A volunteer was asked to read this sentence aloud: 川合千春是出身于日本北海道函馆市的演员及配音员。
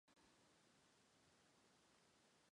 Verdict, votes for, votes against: rejected, 0, 6